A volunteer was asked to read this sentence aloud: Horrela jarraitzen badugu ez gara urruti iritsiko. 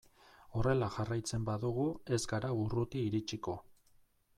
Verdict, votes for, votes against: accepted, 2, 1